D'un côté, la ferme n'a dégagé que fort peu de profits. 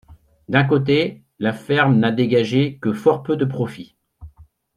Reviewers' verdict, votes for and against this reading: accepted, 2, 0